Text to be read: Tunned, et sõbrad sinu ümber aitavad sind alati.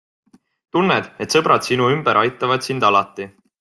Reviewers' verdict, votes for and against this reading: accepted, 2, 0